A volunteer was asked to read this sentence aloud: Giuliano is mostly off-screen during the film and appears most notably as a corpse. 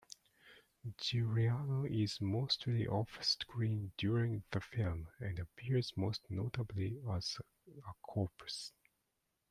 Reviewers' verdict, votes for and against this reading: accepted, 2, 0